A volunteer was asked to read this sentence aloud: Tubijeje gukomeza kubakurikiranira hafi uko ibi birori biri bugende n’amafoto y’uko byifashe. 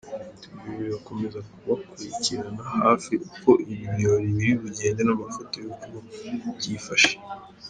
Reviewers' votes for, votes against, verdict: 1, 2, rejected